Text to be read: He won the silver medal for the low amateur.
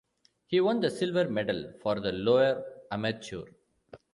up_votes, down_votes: 0, 2